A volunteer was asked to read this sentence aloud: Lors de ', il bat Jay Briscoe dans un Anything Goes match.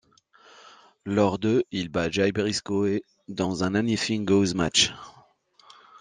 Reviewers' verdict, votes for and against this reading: rejected, 1, 2